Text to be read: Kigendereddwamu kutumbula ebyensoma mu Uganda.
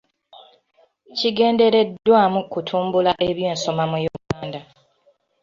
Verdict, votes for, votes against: accepted, 2, 0